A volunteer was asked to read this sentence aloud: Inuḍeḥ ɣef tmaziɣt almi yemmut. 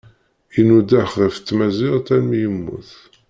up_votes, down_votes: 2, 0